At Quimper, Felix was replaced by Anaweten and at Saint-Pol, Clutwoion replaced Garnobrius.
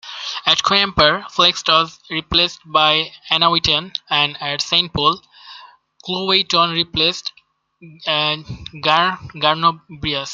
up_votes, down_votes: 0, 2